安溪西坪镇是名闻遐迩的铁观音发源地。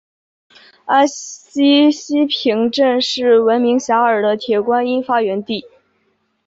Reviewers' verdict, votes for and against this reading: accepted, 8, 1